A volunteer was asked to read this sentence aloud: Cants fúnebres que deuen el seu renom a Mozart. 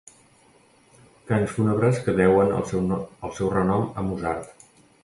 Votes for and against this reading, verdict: 1, 2, rejected